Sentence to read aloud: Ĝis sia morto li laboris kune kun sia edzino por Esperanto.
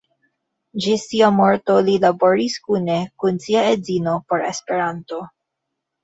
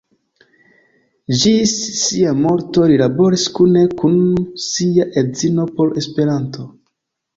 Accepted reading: second